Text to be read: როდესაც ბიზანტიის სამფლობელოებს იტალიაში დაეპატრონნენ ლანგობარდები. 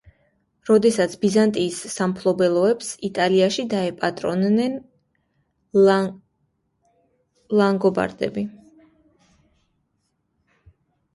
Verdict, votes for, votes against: rejected, 1, 2